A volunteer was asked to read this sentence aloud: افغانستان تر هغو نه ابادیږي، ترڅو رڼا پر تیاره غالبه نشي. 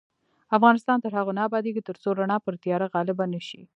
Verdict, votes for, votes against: rejected, 1, 2